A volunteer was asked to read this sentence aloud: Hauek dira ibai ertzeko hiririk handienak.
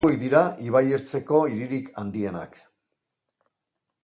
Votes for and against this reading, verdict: 1, 2, rejected